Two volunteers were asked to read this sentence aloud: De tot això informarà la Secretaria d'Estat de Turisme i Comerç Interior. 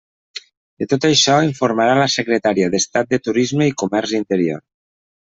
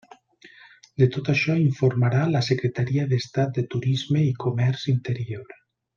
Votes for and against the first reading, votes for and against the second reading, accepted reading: 0, 2, 3, 0, second